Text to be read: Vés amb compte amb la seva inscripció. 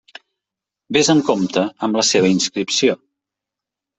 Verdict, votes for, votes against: accepted, 2, 0